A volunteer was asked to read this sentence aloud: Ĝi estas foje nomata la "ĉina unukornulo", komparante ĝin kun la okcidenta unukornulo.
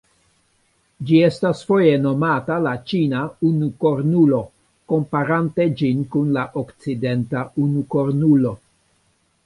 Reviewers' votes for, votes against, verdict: 1, 2, rejected